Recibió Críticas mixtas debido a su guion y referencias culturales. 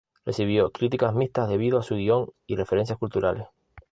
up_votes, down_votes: 0, 2